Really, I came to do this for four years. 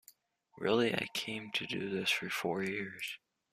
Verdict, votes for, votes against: accepted, 2, 0